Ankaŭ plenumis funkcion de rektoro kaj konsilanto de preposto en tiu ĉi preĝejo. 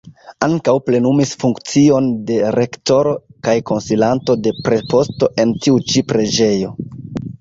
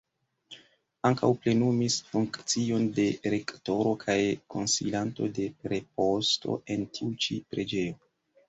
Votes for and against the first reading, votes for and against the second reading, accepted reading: 1, 2, 2, 0, second